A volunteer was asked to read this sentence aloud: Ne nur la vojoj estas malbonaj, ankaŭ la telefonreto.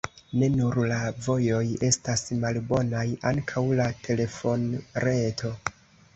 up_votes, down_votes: 2, 0